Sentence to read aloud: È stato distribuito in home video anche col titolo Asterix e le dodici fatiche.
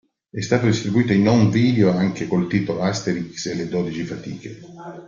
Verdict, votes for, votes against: accepted, 2, 1